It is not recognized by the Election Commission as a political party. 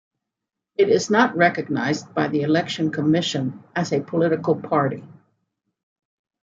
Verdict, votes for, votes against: accepted, 2, 0